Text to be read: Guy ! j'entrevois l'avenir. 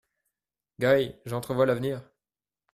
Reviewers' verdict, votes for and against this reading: rejected, 0, 2